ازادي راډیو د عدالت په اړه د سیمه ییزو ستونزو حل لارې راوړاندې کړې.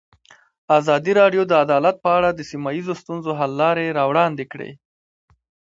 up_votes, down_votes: 1, 2